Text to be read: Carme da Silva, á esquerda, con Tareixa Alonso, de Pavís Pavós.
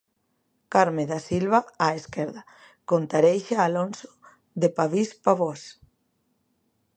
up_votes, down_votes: 2, 0